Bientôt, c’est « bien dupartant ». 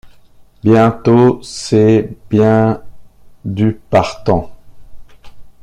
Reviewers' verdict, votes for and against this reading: rejected, 1, 2